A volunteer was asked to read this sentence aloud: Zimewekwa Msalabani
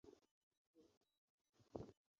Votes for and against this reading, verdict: 0, 3, rejected